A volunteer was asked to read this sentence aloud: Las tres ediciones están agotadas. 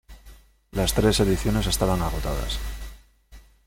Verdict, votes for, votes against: rejected, 0, 2